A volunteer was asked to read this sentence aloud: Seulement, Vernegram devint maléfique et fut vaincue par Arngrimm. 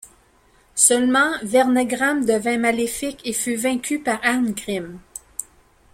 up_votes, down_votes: 2, 0